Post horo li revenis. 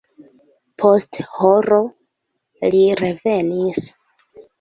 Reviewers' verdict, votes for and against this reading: accepted, 2, 1